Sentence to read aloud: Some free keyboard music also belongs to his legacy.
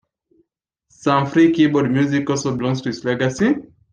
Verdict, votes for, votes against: accepted, 2, 1